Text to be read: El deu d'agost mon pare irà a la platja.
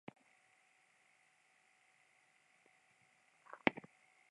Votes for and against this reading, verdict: 0, 2, rejected